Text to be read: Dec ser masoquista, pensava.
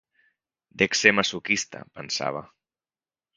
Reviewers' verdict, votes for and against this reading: accepted, 2, 0